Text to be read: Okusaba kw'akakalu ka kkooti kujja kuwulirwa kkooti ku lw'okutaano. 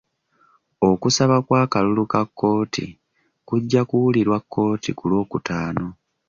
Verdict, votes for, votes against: accepted, 2, 0